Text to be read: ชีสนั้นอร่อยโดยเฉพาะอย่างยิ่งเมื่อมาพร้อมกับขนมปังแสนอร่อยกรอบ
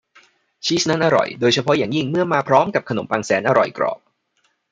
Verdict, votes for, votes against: accepted, 2, 0